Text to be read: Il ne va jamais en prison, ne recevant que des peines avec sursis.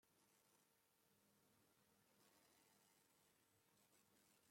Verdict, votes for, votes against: rejected, 0, 2